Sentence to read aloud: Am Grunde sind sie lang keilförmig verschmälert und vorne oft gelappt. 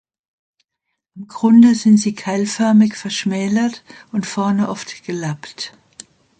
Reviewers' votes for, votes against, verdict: 0, 2, rejected